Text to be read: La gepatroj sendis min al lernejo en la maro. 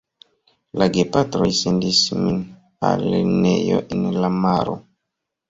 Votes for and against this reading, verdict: 1, 2, rejected